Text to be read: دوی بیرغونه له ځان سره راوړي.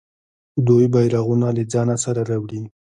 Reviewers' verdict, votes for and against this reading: rejected, 1, 2